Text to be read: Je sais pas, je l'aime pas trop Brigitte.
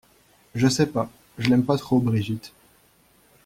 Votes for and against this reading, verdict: 2, 0, accepted